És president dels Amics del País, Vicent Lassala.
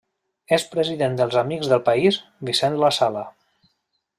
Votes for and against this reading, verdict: 2, 0, accepted